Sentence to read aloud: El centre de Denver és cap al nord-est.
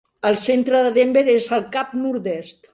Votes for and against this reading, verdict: 0, 2, rejected